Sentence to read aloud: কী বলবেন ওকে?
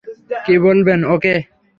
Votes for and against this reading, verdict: 3, 0, accepted